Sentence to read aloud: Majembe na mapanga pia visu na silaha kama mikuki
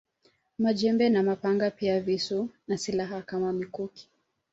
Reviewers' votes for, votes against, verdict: 2, 0, accepted